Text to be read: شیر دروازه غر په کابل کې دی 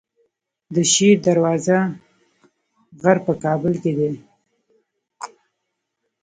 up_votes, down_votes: 1, 2